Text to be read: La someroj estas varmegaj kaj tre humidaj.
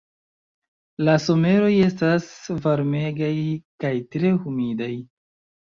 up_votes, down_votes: 2, 0